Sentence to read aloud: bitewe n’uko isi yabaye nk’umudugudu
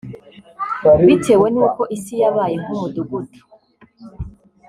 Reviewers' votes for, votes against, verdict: 0, 2, rejected